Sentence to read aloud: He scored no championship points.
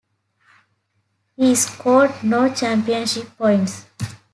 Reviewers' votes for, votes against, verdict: 4, 0, accepted